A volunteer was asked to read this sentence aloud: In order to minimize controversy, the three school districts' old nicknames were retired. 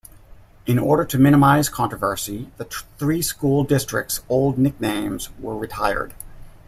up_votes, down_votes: 1, 2